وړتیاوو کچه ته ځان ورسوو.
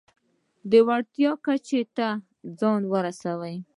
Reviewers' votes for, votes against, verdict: 2, 0, accepted